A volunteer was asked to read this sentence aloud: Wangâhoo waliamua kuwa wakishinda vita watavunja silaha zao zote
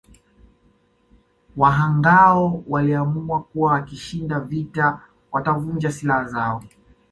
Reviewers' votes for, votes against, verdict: 0, 2, rejected